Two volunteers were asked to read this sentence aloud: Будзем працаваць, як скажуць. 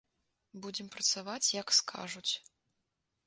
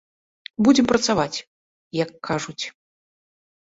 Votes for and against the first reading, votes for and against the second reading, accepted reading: 2, 0, 0, 2, first